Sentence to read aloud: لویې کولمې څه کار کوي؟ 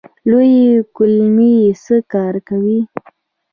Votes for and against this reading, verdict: 2, 0, accepted